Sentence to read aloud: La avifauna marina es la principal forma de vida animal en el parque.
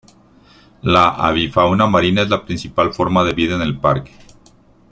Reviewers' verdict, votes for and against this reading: rejected, 1, 2